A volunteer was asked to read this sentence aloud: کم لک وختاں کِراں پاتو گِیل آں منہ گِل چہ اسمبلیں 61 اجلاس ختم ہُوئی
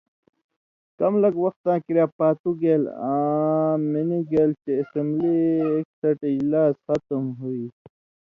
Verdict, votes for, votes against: rejected, 0, 2